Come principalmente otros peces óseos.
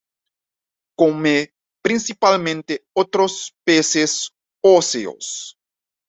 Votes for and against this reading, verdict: 2, 0, accepted